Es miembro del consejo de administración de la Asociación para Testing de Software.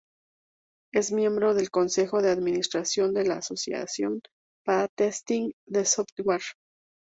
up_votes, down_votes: 2, 2